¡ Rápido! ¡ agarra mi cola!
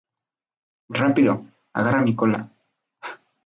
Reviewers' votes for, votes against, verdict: 0, 2, rejected